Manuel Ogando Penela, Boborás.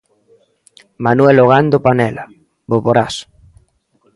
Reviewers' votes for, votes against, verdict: 1, 2, rejected